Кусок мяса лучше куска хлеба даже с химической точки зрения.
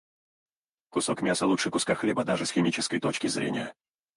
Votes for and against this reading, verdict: 2, 4, rejected